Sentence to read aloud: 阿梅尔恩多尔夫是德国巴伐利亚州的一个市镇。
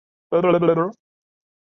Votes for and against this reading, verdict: 0, 3, rejected